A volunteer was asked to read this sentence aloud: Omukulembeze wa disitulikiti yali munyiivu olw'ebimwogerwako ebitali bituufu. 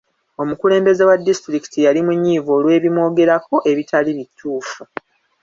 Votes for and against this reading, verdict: 1, 2, rejected